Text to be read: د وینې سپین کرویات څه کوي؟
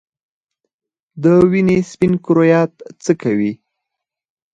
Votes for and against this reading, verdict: 4, 2, accepted